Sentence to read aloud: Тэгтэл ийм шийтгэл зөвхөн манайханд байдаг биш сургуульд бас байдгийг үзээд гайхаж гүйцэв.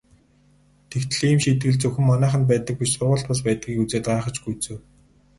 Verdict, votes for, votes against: accepted, 4, 2